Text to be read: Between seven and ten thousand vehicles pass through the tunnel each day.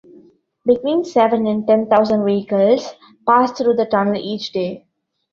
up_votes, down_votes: 0, 2